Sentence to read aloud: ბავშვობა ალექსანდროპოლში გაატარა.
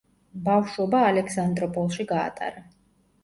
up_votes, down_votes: 2, 0